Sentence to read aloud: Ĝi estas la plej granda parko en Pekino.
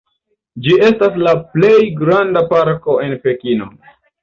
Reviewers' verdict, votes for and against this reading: accepted, 2, 0